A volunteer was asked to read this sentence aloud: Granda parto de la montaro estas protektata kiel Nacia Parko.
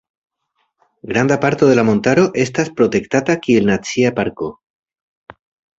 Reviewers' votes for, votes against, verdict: 1, 2, rejected